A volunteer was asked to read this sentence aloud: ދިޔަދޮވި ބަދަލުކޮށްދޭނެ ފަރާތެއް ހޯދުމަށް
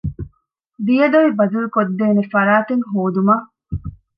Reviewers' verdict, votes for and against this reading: accepted, 2, 0